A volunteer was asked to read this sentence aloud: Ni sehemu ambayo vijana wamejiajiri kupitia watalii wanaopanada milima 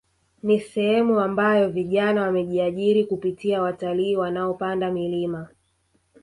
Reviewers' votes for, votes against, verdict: 0, 2, rejected